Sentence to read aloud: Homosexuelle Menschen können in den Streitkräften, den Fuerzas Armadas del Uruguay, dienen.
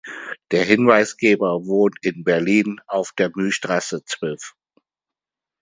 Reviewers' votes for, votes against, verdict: 0, 2, rejected